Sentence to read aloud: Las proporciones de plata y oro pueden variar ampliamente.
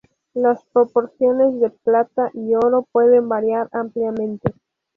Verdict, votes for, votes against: rejected, 0, 2